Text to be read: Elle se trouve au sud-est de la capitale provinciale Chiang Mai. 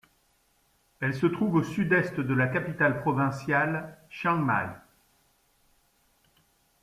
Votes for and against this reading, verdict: 2, 0, accepted